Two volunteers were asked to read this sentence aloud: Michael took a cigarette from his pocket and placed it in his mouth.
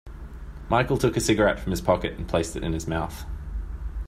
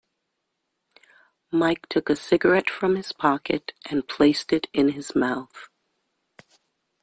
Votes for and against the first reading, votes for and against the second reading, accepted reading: 2, 0, 0, 2, first